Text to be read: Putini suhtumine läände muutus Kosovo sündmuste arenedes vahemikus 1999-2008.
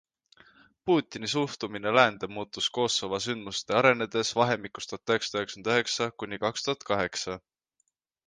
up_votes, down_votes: 0, 2